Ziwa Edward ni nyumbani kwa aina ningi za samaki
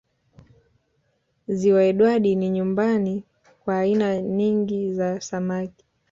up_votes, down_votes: 2, 0